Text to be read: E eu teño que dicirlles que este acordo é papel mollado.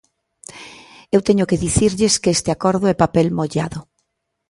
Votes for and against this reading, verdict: 0, 2, rejected